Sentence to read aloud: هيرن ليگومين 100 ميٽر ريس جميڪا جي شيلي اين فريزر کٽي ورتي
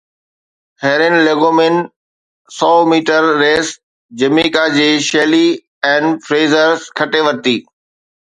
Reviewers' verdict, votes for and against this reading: rejected, 0, 2